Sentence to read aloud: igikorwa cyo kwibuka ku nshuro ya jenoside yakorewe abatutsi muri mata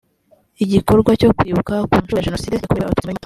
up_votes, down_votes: 0, 2